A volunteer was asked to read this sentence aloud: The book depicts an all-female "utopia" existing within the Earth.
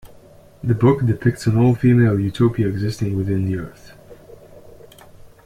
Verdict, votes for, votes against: accepted, 2, 1